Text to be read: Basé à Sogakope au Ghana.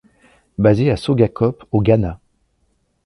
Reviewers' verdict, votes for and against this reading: accepted, 2, 0